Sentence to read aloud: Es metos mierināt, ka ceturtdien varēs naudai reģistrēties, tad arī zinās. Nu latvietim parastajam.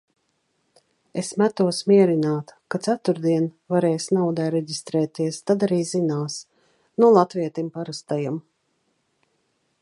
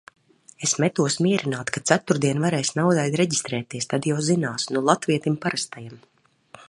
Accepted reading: first